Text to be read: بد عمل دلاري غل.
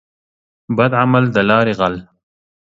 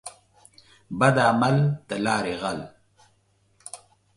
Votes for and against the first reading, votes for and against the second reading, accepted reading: 2, 0, 0, 2, first